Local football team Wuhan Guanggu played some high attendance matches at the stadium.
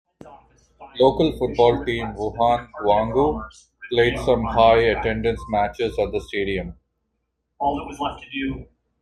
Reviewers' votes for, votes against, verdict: 1, 2, rejected